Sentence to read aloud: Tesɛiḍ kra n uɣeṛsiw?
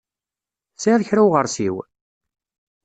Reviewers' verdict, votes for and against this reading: accepted, 2, 0